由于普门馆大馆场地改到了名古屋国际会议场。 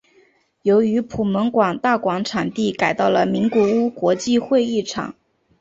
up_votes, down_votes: 2, 0